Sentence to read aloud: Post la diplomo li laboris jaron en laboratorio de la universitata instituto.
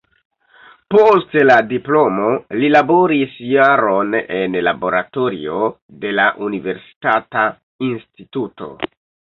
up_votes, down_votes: 0, 2